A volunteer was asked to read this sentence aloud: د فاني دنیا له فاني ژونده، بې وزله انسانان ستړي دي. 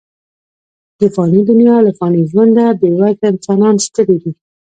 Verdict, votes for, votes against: accepted, 2, 0